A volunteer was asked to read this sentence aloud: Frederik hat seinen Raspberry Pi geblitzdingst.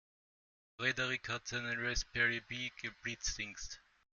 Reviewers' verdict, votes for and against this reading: rejected, 1, 2